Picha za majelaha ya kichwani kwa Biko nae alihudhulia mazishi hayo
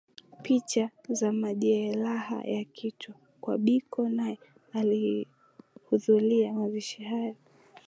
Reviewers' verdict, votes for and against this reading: accepted, 2, 0